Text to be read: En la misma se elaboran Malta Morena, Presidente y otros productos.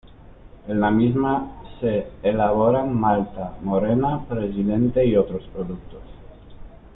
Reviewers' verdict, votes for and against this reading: accepted, 2, 0